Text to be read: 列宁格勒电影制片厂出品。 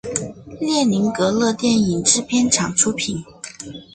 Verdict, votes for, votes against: rejected, 1, 2